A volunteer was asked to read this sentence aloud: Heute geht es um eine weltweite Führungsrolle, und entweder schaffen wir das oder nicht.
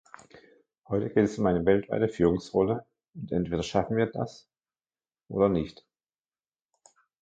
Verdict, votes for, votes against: rejected, 1, 2